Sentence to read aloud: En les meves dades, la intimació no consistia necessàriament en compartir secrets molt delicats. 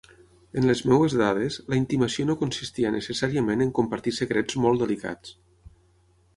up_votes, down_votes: 3, 6